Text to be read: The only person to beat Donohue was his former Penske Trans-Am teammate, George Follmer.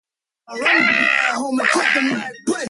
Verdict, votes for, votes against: rejected, 0, 2